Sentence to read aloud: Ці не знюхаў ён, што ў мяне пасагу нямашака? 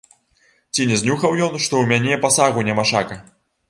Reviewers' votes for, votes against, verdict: 1, 2, rejected